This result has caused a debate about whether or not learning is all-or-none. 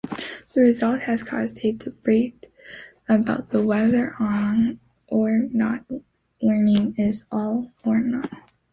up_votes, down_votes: 2, 3